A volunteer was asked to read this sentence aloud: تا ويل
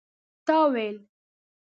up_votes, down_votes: 2, 0